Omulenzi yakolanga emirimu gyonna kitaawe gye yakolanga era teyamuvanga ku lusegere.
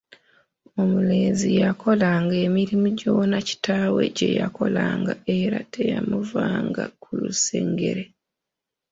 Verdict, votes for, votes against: rejected, 0, 2